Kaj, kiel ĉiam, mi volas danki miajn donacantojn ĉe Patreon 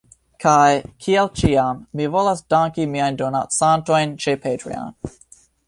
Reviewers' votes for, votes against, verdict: 2, 0, accepted